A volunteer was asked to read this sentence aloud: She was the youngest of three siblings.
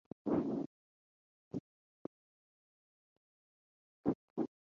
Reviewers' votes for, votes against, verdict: 0, 4, rejected